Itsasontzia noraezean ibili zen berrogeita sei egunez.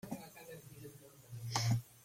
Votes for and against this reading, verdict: 0, 2, rejected